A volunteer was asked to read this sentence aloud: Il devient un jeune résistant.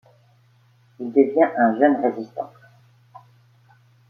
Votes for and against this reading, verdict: 3, 0, accepted